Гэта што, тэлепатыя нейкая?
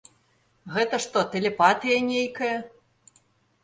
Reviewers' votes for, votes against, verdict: 4, 0, accepted